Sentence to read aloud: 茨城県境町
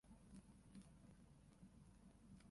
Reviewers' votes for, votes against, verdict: 0, 6, rejected